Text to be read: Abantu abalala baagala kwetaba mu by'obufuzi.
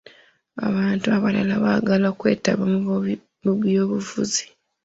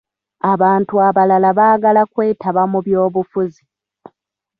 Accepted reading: first